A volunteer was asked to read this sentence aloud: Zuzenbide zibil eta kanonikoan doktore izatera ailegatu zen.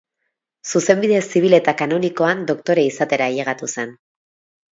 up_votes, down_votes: 6, 0